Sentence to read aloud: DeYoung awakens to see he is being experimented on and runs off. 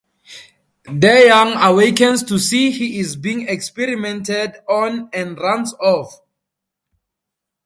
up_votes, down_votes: 2, 0